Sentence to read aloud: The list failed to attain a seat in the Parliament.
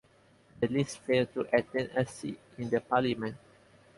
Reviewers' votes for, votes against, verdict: 0, 2, rejected